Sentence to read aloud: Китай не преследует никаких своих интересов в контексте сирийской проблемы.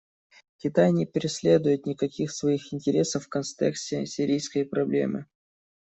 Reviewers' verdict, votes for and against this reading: rejected, 1, 2